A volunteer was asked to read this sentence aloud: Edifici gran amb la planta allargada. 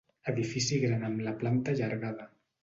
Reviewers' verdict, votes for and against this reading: accepted, 2, 0